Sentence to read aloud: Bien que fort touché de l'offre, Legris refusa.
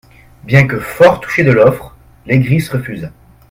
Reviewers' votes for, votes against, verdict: 0, 2, rejected